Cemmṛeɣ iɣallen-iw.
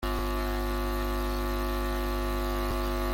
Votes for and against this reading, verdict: 0, 2, rejected